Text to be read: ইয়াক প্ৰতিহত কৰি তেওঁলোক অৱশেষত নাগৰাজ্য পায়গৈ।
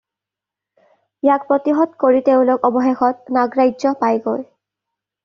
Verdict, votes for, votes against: accepted, 2, 0